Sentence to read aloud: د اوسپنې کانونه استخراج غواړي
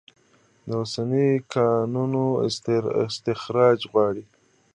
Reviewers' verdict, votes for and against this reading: rejected, 0, 2